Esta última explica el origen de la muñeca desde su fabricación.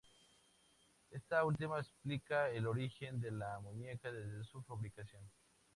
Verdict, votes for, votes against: accepted, 2, 0